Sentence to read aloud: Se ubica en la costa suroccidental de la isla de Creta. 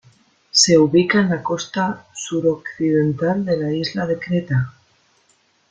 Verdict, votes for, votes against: rejected, 1, 2